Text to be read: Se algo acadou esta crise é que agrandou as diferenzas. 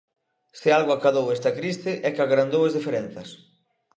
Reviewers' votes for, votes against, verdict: 2, 0, accepted